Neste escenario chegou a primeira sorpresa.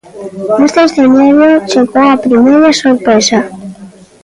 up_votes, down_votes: 1, 2